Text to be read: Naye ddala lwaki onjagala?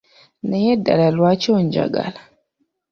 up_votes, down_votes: 2, 0